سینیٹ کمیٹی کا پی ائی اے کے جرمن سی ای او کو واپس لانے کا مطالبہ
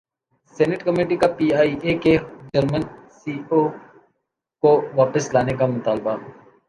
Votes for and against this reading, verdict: 2, 0, accepted